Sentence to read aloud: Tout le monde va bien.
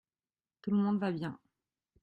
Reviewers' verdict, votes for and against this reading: accepted, 2, 0